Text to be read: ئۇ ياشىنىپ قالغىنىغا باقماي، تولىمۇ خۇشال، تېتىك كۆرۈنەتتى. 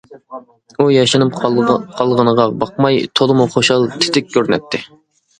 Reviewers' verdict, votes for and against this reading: rejected, 0, 2